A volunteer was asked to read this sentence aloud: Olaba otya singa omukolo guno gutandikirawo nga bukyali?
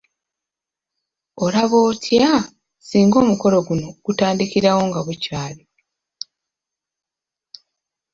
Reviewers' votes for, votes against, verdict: 2, 1, accepted